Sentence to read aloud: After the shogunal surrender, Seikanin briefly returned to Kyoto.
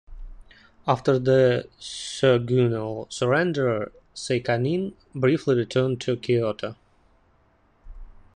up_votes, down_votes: 1, 2